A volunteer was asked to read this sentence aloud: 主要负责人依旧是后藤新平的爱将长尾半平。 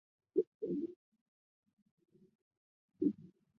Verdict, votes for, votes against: rejected, 0, 2